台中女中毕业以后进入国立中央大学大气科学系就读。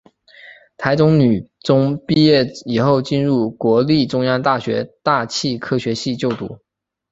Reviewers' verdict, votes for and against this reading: accepted, 2, 1